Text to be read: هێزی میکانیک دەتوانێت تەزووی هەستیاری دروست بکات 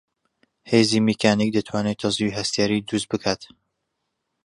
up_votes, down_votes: 2, 0